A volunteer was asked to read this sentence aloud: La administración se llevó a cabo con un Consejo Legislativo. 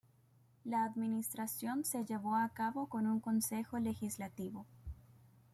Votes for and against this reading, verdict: 2, 0, accepted